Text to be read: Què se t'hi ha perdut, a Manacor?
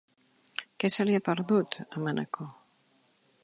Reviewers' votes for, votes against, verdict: 0, 2, rejected